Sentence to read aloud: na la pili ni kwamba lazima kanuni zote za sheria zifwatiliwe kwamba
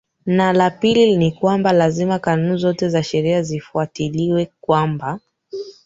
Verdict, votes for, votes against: accepted, 2, 0